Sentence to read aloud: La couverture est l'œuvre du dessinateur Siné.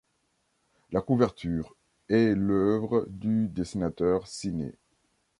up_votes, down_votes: 2, 1